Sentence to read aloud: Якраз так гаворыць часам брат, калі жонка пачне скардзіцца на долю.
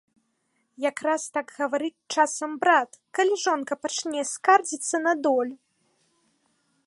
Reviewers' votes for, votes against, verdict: 1, 2, rejected